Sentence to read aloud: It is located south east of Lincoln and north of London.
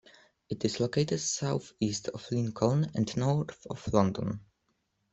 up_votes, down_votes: 2, 0